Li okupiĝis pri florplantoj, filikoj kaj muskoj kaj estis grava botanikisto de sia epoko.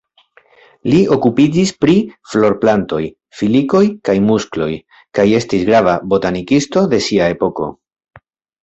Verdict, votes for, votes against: rejected, 1, 2